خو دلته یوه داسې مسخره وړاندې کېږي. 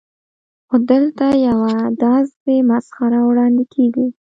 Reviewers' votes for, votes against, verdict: 2, 0, accepted